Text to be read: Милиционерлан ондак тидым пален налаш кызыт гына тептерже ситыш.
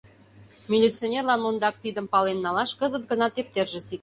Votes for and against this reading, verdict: 1, 2, rejected